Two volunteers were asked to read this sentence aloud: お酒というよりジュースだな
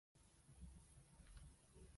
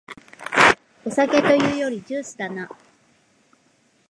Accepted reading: second